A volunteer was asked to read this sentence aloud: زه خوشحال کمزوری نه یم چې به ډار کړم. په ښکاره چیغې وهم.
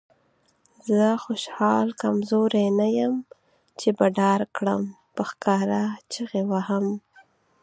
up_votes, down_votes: 6, 0